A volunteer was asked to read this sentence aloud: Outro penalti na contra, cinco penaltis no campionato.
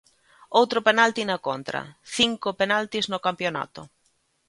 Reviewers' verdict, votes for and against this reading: accepted, 2, 0